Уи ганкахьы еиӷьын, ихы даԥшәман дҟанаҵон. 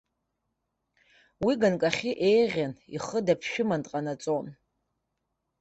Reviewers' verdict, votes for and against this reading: rejected, 0, 3